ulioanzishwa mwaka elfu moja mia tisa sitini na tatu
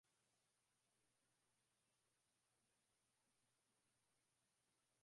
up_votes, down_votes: 0, 2